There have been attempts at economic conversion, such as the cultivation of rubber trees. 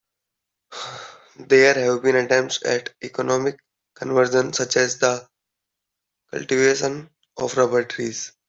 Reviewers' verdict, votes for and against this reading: rejected, 1, 2